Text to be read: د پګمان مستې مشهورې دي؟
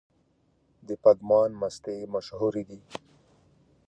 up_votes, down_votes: 3, 0